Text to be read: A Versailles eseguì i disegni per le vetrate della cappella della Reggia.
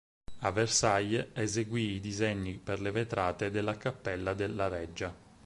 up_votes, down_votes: 4, 0